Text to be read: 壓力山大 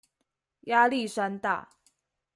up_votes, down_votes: 2, 0